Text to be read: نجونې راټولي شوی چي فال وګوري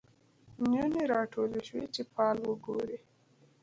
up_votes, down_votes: 2, 0